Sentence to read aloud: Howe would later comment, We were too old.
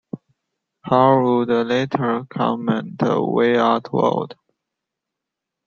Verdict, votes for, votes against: rejected, 0, 2